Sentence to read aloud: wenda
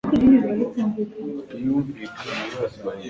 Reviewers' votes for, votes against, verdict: 0, 2, rejected